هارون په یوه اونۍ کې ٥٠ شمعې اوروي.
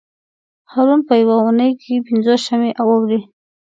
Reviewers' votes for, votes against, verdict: 0, 2, rejected